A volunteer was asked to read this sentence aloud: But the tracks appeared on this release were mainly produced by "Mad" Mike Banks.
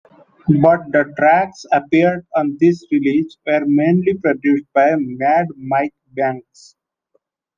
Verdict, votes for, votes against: accepted, 2, 0